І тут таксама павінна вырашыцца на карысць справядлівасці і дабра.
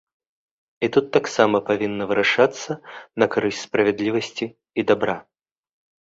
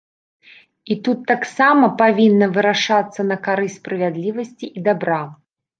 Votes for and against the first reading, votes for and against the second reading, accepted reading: 2, 0, 1, 2, first